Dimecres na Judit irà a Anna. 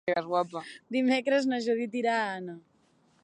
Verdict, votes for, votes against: rejected, 1, 2